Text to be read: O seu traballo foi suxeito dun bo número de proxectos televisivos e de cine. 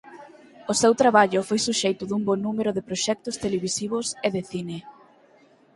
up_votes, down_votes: 4, 0